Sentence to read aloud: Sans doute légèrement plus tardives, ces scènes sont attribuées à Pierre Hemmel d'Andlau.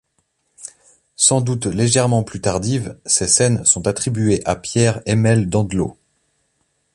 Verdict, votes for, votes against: accepted, 2, 0